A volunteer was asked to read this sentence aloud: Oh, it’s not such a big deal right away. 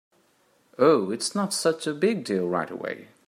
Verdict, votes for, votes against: accepted, 3, 0